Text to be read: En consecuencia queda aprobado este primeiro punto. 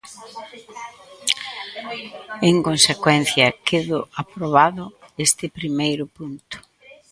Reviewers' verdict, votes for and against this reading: rejected, 0, 2